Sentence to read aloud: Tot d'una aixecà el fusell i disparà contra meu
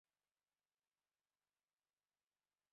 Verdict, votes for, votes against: rejected, 1, 2